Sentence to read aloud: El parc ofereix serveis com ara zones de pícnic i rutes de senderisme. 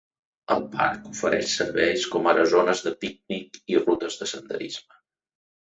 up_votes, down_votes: 2, 0